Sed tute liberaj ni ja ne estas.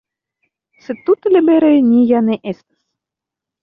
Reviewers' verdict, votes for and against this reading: rejected, 0, 2